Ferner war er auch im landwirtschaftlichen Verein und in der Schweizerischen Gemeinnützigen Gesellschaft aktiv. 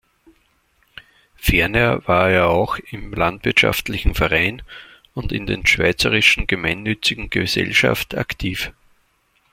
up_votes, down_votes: 1, 2